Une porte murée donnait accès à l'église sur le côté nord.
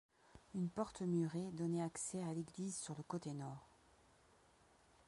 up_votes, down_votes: 0, 2